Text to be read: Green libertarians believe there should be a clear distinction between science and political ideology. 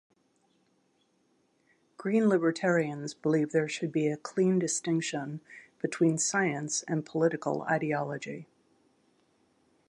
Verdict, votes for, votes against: rejected, 0, 2